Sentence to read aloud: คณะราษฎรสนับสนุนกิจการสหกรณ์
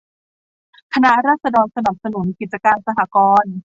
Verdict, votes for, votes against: accepted, 2, 1